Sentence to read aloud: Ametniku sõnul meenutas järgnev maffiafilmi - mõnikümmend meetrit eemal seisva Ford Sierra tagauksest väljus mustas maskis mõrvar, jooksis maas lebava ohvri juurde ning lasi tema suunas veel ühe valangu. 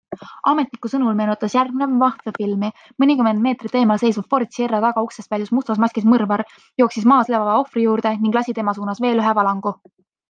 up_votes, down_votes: 2, 0